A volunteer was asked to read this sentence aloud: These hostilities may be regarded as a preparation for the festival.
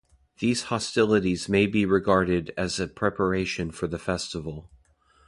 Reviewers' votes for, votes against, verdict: 2, 0, accepted